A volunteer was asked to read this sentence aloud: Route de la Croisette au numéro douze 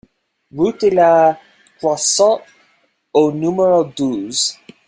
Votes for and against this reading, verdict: 0, 2, rejected